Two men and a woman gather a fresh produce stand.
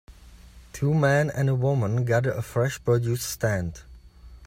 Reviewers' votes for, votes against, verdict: 3, 0, accepted